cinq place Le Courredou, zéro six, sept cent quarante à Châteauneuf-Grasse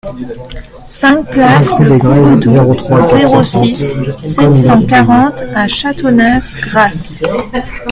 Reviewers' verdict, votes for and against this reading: rejected, 1, 2